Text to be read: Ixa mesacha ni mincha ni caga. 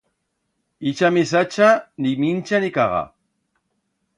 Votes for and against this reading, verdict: 2, 0, accepted